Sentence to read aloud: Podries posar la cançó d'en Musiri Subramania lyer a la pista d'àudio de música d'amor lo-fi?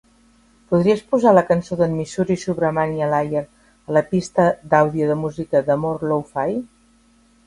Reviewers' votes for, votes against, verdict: 2, 4, rejected